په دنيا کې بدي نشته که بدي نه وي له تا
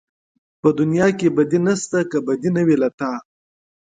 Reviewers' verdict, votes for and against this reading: accepted, 2, 0